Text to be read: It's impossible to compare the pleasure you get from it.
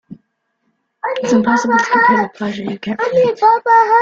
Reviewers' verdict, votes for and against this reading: rejected, 0, 2